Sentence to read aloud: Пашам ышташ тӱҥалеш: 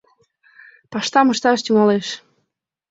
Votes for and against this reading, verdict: 0, 2, rejected